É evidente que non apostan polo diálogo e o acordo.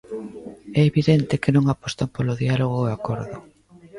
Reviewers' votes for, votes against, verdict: 1, 2, rejected